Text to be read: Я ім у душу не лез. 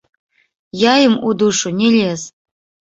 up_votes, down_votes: 1, 2